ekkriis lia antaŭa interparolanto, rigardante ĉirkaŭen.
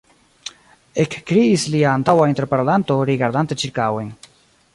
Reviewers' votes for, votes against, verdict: 2, 0, accepted